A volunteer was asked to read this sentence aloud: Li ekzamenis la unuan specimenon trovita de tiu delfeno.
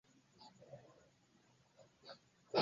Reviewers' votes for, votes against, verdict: 2, 0, accepted